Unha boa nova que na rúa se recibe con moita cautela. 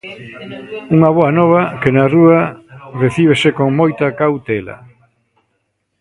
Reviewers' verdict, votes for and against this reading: rejected, 0, 2